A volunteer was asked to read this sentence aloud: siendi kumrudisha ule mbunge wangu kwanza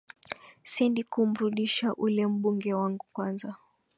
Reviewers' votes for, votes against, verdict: 2, 1, accepted